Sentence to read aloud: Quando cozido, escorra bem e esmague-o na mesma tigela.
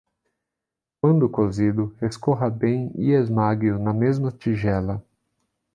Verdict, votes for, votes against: accepted, 2, 0